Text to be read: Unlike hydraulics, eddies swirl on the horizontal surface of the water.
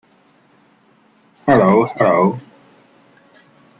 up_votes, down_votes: 0, 2